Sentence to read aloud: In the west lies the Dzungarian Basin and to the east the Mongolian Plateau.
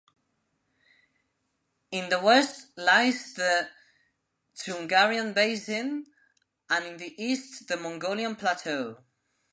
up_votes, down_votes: 0, 2